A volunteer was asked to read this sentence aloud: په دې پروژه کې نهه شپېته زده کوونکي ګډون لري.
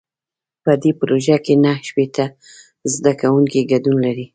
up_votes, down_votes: 2, 0